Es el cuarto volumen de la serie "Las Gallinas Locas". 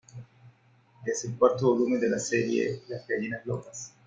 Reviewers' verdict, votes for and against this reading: accepted, 2, 0